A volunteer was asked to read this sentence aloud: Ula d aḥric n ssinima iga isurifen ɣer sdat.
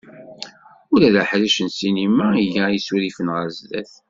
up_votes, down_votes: 2, 0